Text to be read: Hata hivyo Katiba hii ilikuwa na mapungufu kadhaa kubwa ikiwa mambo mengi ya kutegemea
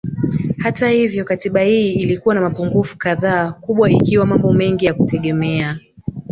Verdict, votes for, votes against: rejected, 1, 2